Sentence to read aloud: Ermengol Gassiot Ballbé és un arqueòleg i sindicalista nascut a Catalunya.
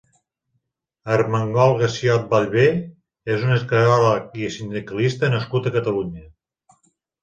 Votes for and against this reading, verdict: 2, 3, rejected